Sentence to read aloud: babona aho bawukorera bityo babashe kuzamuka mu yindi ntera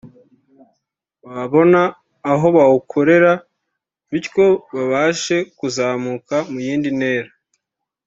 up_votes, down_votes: 3, 0